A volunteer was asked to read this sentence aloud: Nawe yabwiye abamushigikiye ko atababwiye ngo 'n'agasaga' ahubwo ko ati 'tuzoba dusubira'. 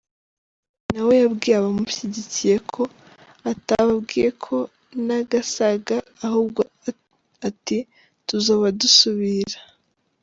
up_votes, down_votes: 0, 2